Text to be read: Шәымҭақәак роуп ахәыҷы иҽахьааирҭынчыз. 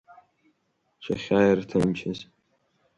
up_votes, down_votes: 0, 3